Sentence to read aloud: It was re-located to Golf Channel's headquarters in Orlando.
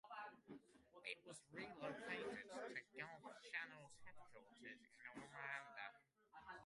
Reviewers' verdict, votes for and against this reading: rejected, 0, 2